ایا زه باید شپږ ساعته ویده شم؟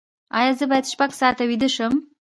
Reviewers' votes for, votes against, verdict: 1, 2, rejected